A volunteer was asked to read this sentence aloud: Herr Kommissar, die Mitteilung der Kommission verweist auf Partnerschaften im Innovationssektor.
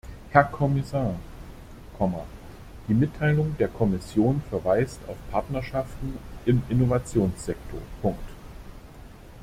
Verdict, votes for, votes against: rejected, 0, 2